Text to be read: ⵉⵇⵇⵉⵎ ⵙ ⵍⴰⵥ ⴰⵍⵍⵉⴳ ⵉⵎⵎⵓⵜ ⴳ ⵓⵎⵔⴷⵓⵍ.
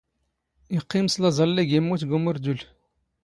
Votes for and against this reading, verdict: 2, 0, accepted